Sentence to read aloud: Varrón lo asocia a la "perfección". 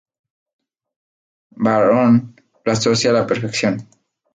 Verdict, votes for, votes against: rejected, 0, 2